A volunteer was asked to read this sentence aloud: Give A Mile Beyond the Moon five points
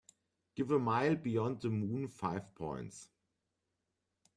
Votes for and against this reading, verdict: 2, 0, accepted